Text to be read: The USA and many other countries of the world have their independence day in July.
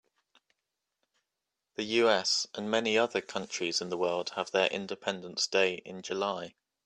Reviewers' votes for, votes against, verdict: 3, 2, accepted